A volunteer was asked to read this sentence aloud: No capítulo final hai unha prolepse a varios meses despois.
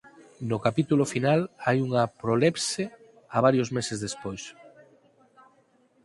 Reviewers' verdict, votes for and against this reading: accepted, 4, 2